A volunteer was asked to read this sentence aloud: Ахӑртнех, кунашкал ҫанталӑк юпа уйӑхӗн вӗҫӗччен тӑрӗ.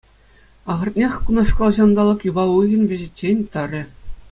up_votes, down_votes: 2, 0